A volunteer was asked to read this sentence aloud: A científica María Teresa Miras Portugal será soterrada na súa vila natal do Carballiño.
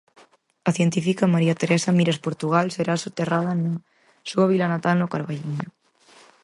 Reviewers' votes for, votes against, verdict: 0, 4, rejected